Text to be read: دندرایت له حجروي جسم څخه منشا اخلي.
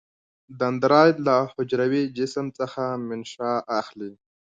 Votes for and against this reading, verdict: 2, 1, accepted